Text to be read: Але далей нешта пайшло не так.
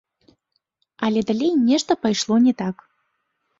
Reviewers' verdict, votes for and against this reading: rejected, 1, 2